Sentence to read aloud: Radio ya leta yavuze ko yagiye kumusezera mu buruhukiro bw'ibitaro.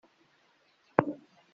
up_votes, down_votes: 0, 2